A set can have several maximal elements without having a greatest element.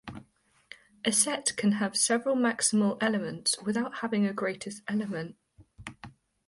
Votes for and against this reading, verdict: 2, 0, accepted